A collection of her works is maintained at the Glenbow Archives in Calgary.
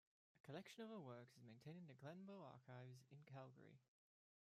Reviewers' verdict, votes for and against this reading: rejected, 0, 2